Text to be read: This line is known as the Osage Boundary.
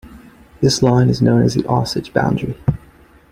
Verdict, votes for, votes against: accepted, 2, 0